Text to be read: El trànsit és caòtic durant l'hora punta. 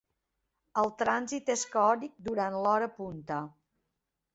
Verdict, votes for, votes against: accepted, 2, 1